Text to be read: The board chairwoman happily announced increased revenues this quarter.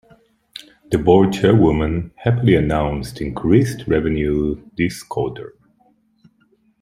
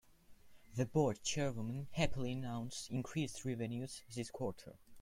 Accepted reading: second